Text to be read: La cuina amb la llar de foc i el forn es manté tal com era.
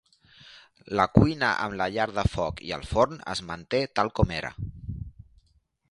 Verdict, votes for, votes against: accepted, 2, 0